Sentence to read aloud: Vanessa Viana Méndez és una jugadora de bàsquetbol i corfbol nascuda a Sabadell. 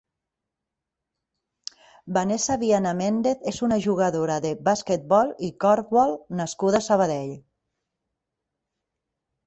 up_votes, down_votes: 2, 0